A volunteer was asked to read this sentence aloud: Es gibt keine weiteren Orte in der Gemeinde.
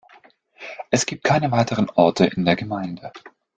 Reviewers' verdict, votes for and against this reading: accepted, 2, 0